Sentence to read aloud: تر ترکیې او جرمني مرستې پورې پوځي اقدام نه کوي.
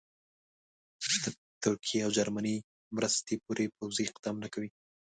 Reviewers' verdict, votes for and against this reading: rejected, 1, 2